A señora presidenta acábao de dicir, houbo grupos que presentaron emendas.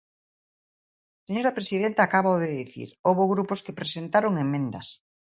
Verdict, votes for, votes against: rejected, 0, 2